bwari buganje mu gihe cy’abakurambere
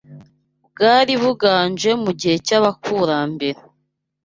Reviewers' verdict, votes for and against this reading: accepted, 2, 0